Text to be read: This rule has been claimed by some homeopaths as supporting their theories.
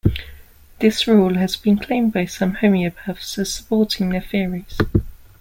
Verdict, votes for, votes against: accepted, 2, 0